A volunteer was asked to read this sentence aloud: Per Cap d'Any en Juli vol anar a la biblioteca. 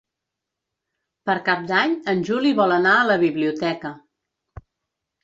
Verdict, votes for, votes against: accepted, 5, 0